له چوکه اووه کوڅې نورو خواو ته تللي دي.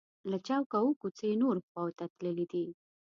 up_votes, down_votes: 3, 0